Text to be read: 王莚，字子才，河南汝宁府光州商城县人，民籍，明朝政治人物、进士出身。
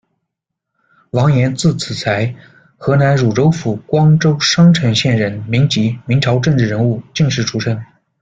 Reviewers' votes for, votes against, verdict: 0, 2, rejected